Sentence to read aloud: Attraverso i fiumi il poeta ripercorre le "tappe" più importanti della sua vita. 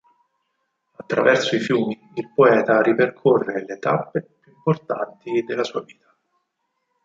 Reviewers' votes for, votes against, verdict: 4, 2, accepted